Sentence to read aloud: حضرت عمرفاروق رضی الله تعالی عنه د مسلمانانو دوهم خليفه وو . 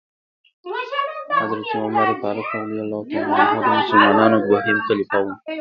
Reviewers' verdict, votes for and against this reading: rejected, 0, 2